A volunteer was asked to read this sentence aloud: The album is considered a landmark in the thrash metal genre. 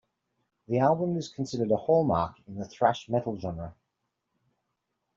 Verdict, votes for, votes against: rejected, 0, 2